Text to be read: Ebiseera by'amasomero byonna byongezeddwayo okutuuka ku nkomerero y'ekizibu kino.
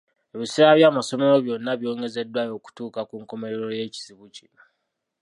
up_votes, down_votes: 2, 0